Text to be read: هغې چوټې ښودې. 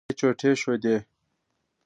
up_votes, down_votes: 1, 2